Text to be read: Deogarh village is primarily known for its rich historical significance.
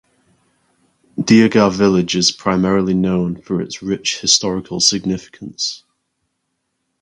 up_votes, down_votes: 4, 0